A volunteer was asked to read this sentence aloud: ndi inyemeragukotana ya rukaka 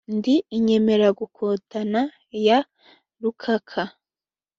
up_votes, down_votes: 2, 0